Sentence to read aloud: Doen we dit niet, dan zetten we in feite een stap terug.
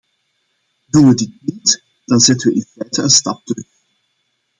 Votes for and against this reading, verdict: 0, 2, rejected